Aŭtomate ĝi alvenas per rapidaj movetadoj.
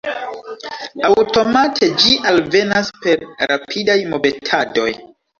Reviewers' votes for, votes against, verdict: 1, 2, rejected